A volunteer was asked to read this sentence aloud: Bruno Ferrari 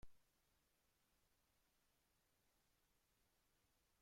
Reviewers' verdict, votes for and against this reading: rejected, 0, 2